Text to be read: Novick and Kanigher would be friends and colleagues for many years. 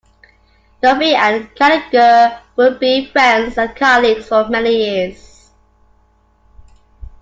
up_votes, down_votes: 2, 1